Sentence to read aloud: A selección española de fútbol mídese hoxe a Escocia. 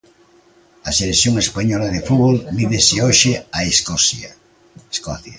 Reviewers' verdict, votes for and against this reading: rejected, 0, 2